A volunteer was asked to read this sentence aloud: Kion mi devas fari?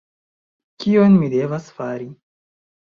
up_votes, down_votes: 1, 2